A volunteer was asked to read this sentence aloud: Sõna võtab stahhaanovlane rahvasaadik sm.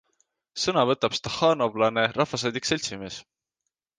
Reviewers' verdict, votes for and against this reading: accepted, 2, 0